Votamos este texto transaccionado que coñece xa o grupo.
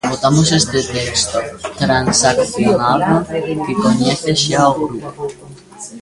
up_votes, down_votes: 1, 2